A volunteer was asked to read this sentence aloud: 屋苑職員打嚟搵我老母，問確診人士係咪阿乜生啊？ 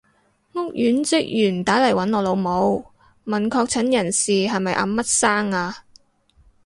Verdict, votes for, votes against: accepted, 2, 0